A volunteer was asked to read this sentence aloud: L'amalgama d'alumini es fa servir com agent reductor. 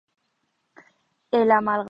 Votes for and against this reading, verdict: 1, 2, rejected